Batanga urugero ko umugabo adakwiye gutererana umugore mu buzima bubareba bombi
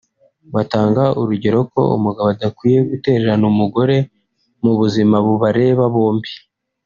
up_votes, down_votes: 2, 0